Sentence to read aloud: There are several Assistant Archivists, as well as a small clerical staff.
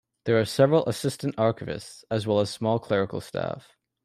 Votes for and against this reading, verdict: 1, 2, rejected